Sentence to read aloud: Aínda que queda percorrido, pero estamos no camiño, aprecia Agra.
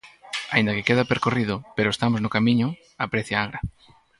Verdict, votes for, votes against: rejected, 2, 2